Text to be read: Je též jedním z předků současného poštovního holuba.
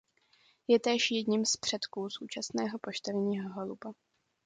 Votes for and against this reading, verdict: 2, 0, accepted